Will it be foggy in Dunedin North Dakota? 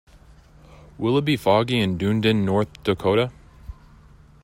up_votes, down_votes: 2, 0